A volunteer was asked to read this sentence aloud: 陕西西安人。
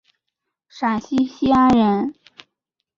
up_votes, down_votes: 2, 0